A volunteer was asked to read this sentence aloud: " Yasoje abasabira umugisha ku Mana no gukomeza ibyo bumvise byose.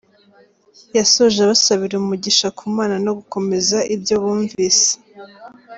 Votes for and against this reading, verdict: 0, 2, rejected